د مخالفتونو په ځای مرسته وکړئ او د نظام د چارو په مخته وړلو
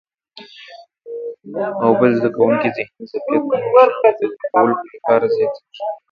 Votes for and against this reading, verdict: 1, 2, rejected